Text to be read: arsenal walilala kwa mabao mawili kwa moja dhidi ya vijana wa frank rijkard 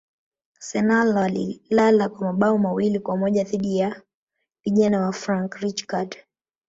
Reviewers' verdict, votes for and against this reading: accepted, 3, 2